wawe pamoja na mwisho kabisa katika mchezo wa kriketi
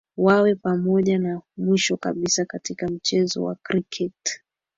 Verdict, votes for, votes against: accepted, 2, 0